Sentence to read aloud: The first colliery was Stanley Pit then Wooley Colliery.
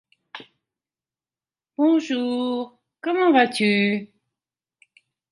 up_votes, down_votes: 0, 3